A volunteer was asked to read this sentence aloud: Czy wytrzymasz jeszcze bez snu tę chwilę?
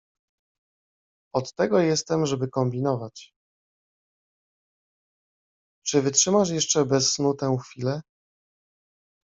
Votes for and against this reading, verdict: 0, 2, rejected